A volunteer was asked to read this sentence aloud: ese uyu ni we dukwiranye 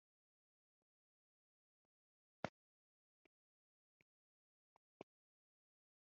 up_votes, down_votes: 1, 3